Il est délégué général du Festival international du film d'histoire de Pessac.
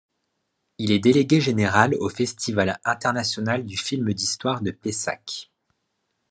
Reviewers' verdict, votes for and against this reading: rejected, 1, 2